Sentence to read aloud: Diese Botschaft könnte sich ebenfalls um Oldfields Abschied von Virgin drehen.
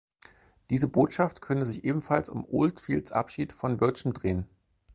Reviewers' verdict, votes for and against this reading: rejected, 4, 6